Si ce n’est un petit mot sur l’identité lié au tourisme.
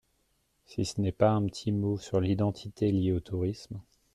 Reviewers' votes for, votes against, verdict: 1, 2, rejected